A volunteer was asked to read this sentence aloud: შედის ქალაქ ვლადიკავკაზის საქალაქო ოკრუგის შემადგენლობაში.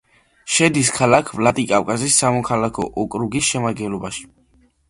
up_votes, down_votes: 1, 2